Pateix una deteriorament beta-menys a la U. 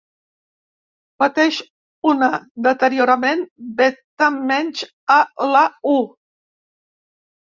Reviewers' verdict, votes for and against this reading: accepted, 2, 0